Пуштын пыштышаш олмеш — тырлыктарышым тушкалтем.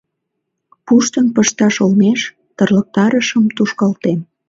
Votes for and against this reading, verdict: 1, 2, rejected